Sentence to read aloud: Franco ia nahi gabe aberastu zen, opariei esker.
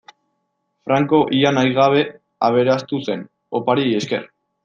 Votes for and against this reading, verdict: 2, 1, accepted